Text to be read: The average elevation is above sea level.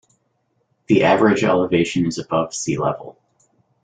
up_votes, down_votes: 2, 1